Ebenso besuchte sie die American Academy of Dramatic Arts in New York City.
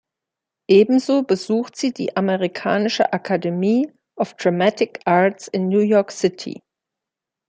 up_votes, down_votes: 1, 2